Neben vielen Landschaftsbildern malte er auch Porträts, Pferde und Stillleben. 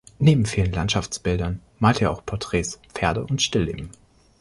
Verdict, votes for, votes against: accepted, 2, 0